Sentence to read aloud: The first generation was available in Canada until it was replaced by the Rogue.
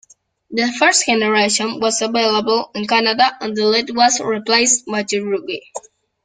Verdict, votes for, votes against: rejected, 0, 2